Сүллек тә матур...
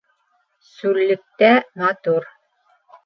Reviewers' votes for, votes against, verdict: 1, 2, rejected